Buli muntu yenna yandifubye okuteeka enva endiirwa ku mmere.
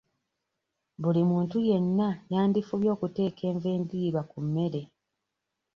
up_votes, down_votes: 2, 0